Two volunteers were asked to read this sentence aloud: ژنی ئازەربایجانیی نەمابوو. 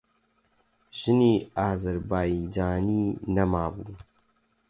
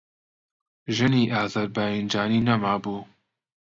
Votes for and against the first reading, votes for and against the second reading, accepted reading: 8, 0, 0, 2, first